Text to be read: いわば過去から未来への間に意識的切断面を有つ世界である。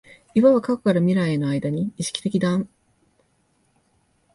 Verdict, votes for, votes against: rejected, 0, 2